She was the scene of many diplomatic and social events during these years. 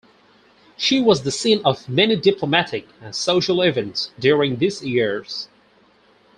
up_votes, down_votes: 2, 2